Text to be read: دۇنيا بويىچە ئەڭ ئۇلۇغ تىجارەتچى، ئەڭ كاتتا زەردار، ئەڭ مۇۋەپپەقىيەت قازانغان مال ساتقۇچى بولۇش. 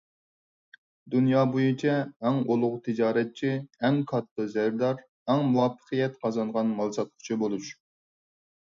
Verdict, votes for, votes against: accepted, 4, 0